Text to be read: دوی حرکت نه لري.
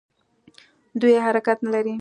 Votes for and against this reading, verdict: 3, 0, accepted